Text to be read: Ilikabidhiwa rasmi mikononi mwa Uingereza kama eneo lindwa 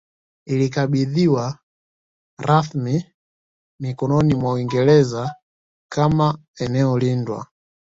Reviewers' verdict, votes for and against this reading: accepted, 2, 0